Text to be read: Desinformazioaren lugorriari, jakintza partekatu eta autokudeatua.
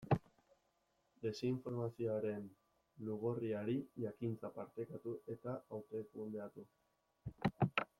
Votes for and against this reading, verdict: 0, 2, rejected